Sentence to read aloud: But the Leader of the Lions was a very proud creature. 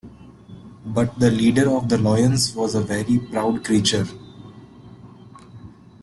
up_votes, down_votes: 0, 2